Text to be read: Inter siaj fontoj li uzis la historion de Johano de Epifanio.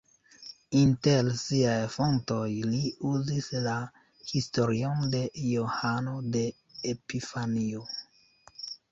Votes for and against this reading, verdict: 2, 0, accepted